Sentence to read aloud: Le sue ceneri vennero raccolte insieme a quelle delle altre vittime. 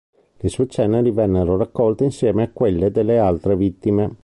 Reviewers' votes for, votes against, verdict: 2, 0, accepted